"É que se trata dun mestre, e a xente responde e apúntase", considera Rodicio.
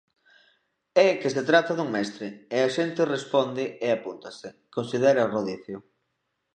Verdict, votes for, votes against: accepted, 2, 0